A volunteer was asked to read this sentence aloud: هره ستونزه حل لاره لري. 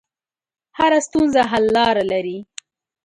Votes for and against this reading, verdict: 4, 0, accepted